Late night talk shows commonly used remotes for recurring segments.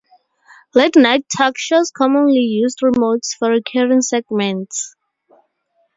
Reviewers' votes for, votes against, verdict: 4, 0, accepted